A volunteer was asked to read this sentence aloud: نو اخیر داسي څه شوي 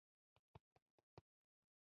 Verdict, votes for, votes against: rejected, 0, 2